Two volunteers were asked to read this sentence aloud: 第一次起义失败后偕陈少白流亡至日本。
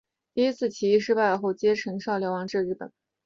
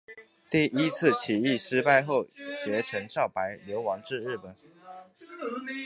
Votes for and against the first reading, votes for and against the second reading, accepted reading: 2, 1, 0, 2, first